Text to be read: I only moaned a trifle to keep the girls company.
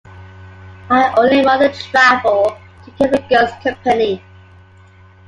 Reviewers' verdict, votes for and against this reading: rejected, 1, 2